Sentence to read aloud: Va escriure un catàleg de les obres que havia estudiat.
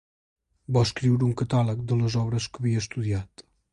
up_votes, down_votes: 2, 0